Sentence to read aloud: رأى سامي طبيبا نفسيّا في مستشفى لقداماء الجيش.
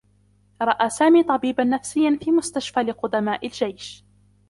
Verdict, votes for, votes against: rejected, 0, 2